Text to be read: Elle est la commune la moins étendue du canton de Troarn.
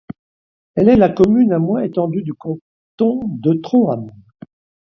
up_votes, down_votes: 0, 2